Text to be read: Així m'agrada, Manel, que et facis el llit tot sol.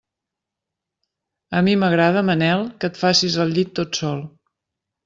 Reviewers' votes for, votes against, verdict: 0, 2, rejected